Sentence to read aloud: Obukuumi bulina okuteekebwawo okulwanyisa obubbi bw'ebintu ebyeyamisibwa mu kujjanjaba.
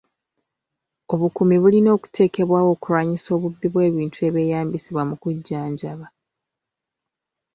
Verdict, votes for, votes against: accepted, 2, 0